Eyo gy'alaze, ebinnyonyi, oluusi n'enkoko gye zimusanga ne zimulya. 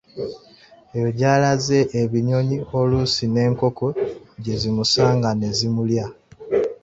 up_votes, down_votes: 2, 1